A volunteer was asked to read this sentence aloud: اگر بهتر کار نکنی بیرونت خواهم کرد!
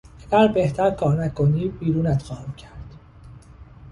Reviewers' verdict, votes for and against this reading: accepted, 2, 0